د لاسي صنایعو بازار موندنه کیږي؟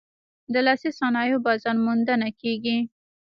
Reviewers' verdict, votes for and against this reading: rejected, 1, 2